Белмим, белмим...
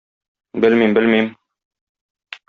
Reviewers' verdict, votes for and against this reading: accepted, 2, 0